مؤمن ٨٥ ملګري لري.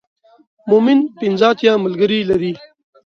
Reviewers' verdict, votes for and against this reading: rejected, 0, 2